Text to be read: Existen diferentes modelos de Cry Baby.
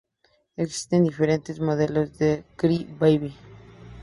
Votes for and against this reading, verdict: 4, 0, accepted